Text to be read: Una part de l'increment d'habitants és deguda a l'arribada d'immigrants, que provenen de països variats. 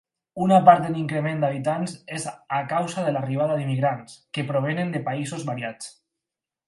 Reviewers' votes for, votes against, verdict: 0, 4, rejected